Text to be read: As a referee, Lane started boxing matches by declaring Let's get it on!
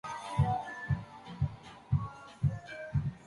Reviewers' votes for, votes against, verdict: 0, 2, rejected